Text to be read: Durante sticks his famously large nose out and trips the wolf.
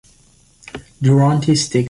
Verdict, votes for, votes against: rejected, 0, 2